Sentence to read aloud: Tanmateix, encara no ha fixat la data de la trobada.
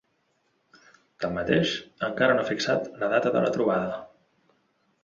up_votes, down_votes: 2, 0